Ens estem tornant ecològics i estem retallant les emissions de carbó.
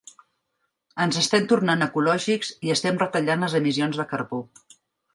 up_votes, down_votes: 3, 0